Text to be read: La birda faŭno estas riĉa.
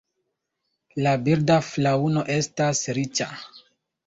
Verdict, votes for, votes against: rejected, 1, 2